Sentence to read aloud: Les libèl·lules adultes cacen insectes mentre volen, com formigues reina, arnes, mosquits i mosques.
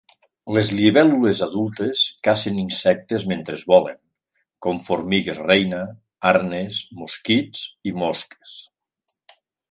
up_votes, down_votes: 1, 2